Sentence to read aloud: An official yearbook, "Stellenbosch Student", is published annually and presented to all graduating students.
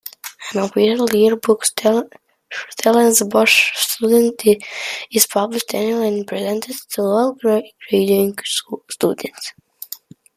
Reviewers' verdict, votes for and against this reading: rejected, 1, 2